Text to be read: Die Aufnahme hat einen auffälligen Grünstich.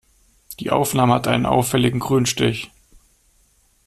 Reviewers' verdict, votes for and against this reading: accepted, 2, 0